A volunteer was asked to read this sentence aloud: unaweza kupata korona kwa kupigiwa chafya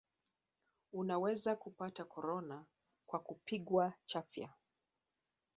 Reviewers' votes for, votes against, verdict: 0, 2, rejected